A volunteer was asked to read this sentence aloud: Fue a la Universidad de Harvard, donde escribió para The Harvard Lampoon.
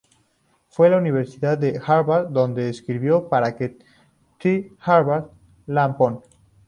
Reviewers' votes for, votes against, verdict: 2, 0, accepted